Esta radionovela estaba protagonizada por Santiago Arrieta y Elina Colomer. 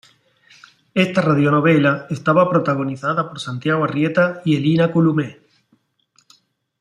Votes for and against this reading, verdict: 1, 2, rejected